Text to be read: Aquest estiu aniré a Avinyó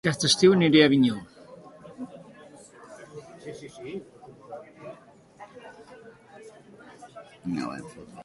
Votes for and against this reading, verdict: 0, 2, rejected